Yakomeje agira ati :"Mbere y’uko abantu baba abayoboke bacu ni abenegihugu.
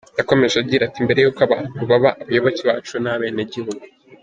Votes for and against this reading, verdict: 1, 2, rejected